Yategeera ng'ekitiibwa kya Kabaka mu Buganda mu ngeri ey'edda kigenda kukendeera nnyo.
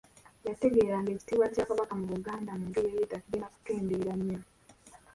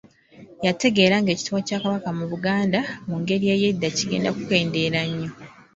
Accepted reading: second